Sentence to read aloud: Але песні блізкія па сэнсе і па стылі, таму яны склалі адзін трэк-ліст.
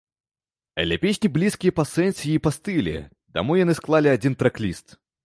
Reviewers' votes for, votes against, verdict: 2, 0, accepted